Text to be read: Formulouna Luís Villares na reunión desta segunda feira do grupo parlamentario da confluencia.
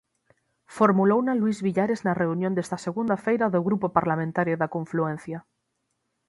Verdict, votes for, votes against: accepted, 6, 0